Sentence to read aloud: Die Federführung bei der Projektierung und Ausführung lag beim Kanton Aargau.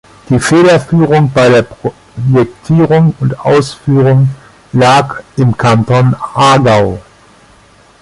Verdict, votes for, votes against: rejected, 0, 2